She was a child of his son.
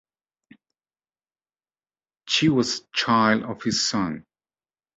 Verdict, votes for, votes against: rejected, 1, 2